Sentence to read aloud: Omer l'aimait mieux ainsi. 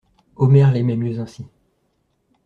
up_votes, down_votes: 2, 0